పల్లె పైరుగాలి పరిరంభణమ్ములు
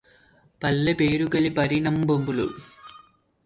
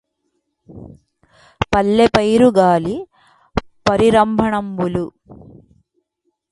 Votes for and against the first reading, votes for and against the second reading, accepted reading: 0, 2, 2, 0, second